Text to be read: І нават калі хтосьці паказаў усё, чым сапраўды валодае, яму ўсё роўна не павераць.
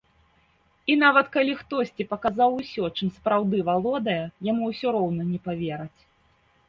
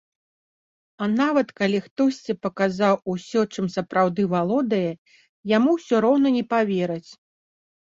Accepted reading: first